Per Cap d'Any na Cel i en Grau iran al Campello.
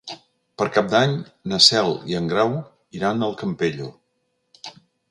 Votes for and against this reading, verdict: 3, 0, accepted